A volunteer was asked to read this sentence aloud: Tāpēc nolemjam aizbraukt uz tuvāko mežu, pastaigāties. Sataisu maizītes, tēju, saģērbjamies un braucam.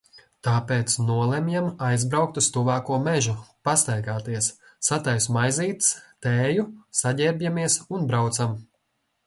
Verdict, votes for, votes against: accepted, 2, 0